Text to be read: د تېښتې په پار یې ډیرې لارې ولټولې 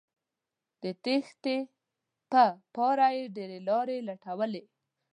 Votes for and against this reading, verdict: 1, 2, rejected